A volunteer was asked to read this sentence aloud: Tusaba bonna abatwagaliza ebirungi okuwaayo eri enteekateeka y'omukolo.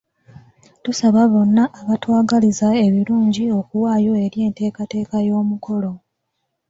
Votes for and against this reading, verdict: 1, 2, rejected